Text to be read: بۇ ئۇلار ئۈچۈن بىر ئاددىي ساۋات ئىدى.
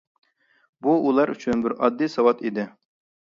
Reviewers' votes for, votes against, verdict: 2, 0, accepted